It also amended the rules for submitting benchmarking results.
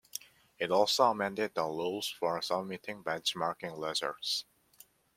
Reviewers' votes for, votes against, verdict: 0, 2, rejected